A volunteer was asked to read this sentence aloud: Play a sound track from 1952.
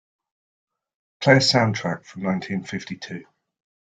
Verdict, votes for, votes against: rejected, 0, 2